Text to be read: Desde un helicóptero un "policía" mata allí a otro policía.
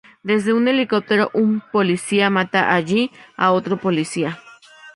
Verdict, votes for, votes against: accepted, 2, 0